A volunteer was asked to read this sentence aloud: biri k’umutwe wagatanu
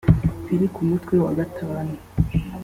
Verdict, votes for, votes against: accepted, 3, 0